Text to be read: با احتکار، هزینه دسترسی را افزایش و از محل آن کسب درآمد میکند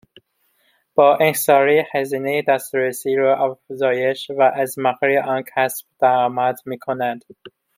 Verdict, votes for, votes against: rejected, 0, 2